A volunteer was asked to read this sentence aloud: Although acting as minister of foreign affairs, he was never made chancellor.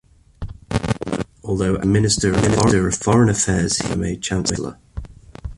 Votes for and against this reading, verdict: 0, 2, rejected